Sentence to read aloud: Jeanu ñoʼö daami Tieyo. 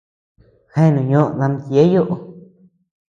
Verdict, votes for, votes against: accepted, 2, 0